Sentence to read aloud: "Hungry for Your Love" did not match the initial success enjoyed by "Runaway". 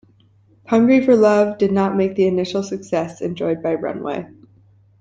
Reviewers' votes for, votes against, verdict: 2, 1, accepted